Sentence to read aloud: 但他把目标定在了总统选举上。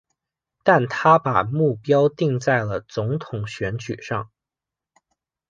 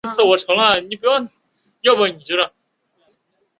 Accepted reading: first